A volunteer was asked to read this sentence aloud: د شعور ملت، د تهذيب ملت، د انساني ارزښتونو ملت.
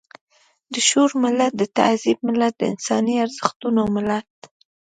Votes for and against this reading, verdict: 2, 0, accepted